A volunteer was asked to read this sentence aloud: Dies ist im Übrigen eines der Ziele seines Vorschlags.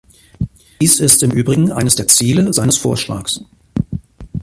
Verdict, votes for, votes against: accepted, 2, 0